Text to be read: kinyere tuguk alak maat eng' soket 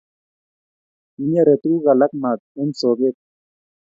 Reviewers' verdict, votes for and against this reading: accepted, 2, 0